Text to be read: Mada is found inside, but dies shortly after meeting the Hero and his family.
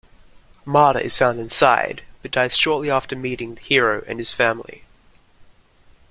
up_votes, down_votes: 2, 0